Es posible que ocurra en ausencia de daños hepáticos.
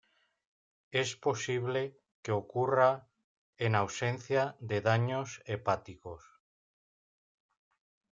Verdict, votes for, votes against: accepted, 2, 1